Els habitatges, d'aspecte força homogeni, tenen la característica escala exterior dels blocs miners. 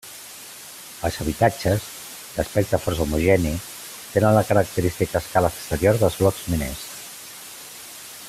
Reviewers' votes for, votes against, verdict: 2, 0, accepted